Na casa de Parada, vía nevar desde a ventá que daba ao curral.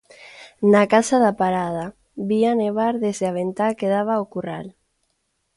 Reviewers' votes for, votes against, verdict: 0, 2, rejected